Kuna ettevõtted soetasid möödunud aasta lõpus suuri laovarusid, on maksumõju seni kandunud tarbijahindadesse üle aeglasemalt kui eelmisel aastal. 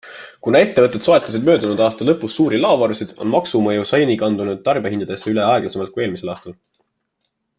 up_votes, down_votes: 2, 0